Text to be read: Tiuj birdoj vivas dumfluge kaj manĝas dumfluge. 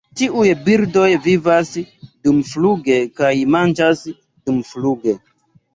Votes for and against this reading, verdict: 2, 0, accepted